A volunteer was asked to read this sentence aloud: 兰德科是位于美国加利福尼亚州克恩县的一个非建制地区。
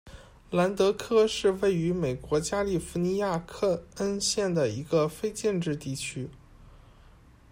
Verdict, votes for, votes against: rejected, 1, 2